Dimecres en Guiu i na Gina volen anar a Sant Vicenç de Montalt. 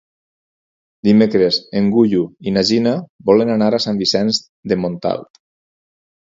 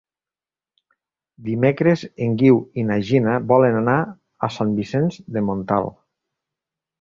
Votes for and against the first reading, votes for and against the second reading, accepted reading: 0, 4, 3, 0, second